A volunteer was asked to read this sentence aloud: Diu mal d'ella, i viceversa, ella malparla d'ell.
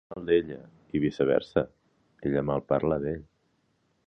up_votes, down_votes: 0, 2